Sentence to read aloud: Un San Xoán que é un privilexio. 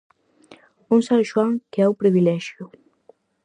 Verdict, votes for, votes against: accepted, 4, 0